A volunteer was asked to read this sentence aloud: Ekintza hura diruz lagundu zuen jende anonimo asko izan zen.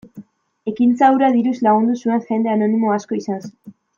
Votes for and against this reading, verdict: 1, 2, rejected